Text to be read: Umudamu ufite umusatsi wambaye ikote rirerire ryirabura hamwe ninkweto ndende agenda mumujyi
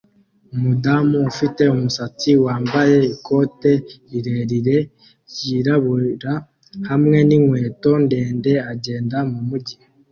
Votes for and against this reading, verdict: 2, 1, accepted